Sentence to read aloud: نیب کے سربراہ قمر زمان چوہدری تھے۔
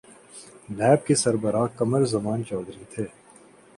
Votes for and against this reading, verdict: 14, 0, accepted